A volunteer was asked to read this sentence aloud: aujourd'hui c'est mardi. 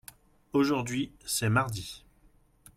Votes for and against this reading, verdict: 2, 0, accepted